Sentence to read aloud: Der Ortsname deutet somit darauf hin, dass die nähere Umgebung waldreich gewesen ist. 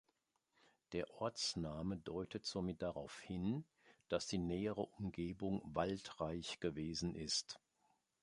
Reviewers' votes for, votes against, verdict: 3, 1, accepted